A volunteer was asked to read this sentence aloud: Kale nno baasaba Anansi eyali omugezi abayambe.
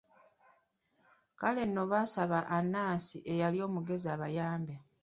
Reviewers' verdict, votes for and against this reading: accepted, 2, 0